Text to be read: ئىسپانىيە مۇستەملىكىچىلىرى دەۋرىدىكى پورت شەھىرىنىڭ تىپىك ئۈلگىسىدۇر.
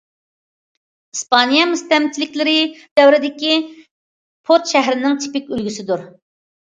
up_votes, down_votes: 0, 2